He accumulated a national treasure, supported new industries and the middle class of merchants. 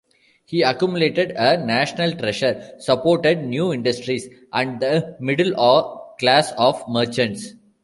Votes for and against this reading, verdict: 1, 2, rejected